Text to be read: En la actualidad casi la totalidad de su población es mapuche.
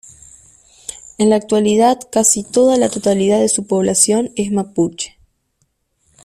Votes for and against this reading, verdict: 0, 2, rejected